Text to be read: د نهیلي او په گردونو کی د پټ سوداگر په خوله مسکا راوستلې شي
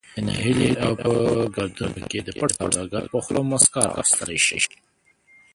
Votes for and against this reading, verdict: 0, 2, rejected